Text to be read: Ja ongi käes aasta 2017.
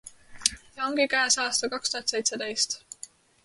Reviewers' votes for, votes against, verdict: 0, 2, rejected